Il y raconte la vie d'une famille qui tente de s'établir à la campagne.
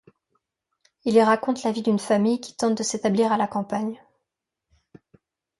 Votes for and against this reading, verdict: 2, 0, accepted